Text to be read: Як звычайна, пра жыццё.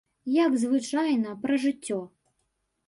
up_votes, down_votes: 2, 0